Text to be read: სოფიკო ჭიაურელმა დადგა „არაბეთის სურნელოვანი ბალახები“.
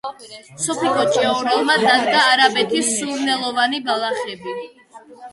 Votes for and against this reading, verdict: 1, 2, rejected